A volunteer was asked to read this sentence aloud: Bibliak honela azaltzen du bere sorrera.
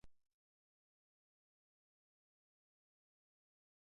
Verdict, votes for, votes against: rejected, 0, 2